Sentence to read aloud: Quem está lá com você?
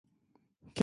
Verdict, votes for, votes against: rejected, 0, 2